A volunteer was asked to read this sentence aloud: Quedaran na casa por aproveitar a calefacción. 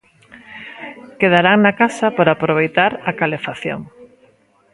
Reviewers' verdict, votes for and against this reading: rejected, 0, 2